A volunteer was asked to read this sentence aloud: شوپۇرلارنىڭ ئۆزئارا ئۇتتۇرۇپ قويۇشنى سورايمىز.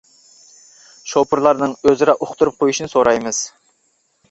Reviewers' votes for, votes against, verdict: 1, 2, rejected